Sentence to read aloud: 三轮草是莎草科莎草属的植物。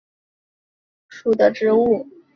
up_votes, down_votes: 0, 2